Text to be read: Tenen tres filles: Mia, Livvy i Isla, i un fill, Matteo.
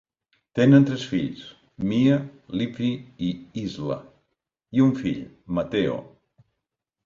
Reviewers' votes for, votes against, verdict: 0, 2, rejected